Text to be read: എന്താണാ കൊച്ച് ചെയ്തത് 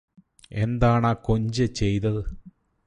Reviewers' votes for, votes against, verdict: 0, 2, rejected